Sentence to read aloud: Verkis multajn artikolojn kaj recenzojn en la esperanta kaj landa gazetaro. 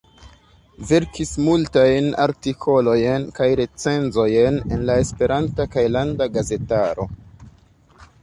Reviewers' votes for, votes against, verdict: 2, 0, accepted